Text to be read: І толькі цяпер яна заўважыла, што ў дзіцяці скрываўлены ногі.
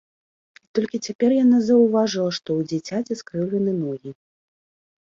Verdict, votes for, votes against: accepted, 3, 2